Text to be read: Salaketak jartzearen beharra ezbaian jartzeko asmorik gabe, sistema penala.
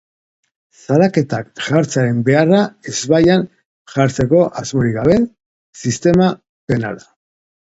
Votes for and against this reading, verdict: 2, 0, accepted